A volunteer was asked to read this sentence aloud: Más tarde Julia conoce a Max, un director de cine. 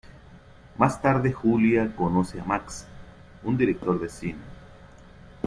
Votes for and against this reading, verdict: 2, 0, accepted